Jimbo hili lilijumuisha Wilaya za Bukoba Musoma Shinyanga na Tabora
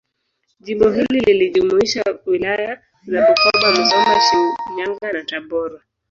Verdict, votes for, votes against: rejected, 1, 2